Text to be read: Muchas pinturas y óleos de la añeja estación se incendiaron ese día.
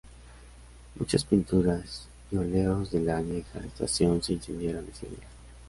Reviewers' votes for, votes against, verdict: 2, 0, accepted